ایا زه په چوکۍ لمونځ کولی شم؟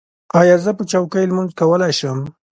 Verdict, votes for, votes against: accepted, 2, 0